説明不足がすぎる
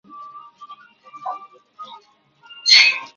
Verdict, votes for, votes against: rejected, 0, 2